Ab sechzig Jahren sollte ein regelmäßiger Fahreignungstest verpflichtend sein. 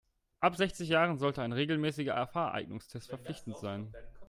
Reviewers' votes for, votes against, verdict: 0, 2, rejected